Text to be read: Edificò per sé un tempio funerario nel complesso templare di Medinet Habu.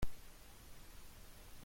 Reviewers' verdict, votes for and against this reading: rejected, 0, 2